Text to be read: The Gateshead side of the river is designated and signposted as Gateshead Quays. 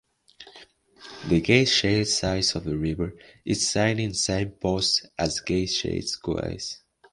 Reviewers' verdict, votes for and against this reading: rejected, 0, 2